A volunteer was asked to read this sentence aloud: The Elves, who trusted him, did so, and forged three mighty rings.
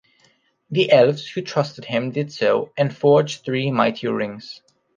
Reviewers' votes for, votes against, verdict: 4, 0, accepted